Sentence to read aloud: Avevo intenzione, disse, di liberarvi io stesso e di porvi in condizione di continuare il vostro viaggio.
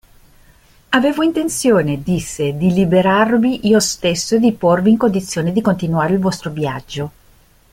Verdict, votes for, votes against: accepted, 2, 0